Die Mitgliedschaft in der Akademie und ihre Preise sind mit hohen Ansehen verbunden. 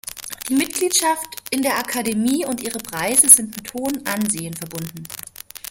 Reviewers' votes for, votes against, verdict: 2, 0, accepted